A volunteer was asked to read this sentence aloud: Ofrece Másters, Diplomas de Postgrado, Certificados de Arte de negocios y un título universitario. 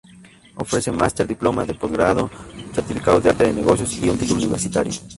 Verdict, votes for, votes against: rejected, 2, 2